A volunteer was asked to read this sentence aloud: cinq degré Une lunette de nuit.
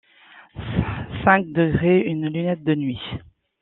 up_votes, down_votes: 2, 0